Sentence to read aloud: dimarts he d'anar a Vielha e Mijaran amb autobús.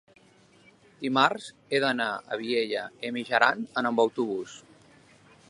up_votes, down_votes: 1, 2